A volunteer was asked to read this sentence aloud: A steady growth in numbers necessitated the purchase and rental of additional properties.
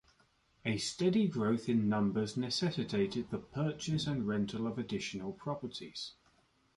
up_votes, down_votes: 2, 0